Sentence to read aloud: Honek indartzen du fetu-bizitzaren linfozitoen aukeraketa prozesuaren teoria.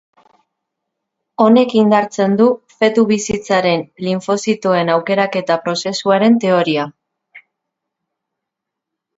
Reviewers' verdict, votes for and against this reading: accepted, 2, 0